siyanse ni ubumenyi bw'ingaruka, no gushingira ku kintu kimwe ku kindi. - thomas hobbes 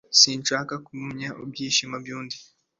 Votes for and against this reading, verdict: 0, 2, rejected